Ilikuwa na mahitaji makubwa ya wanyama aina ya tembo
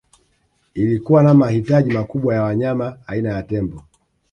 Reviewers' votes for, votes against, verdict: 2, 1, accepted